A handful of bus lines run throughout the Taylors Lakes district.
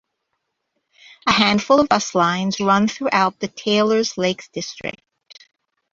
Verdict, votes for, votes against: accepted, 2, 1